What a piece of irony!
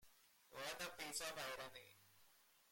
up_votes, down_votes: 0, 2